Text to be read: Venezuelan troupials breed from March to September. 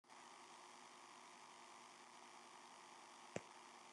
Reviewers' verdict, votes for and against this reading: rejected, 0, 2